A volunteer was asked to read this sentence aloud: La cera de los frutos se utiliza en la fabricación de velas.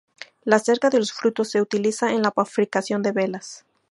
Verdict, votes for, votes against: rejected, 2, 4